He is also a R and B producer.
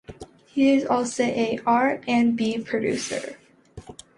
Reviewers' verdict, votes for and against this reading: accepted, 2, 0